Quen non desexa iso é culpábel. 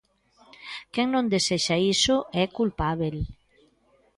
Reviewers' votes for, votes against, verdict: 2, 0, accepted